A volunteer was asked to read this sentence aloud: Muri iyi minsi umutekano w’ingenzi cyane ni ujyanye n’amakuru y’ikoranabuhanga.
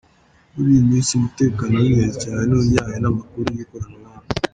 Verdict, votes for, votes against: accepted, 2, 0